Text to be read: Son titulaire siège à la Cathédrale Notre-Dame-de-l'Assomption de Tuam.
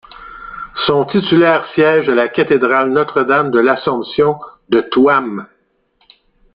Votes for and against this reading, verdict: 1, 2, rejected